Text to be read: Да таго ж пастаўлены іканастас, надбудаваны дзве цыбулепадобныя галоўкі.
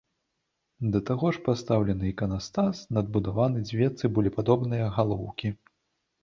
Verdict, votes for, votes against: accepted, 2, 0